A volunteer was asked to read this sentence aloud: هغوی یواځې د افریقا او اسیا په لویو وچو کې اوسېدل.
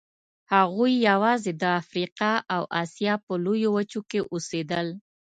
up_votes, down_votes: 2, 0